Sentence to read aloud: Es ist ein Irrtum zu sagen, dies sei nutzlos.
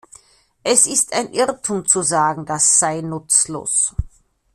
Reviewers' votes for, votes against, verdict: 0, 2, rejected